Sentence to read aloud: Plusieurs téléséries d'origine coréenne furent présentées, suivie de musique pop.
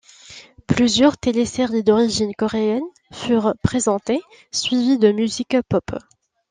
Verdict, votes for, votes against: rejected, 1, 2